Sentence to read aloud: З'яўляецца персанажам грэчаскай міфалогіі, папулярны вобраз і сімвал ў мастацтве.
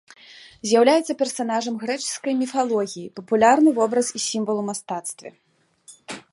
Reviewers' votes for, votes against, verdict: 3, 0, accepted